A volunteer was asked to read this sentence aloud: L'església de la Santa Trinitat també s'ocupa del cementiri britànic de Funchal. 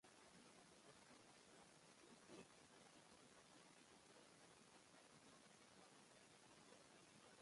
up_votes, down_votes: 0, 2